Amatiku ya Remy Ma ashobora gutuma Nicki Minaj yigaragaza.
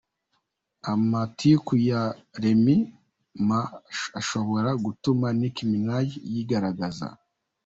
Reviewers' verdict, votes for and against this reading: accepted, 2, 0